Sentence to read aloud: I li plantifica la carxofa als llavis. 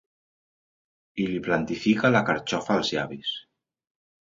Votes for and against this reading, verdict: 2, 0, accepted